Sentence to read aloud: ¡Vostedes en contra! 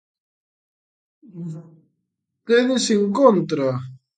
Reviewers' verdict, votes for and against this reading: rejected, 0, 2